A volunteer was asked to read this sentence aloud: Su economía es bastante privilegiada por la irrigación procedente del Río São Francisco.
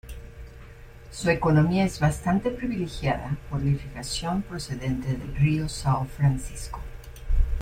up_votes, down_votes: 1, 2